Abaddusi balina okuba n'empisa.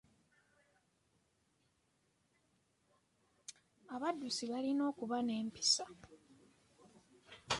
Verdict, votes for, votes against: rejected, 0, 2